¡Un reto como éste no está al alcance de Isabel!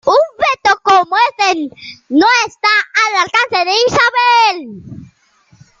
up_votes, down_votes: 1, 2